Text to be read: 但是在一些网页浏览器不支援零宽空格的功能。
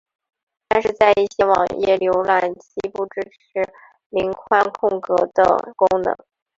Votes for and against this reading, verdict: 2, 3, rejected